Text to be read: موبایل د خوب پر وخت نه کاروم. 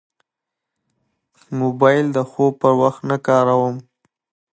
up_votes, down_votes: 2, 0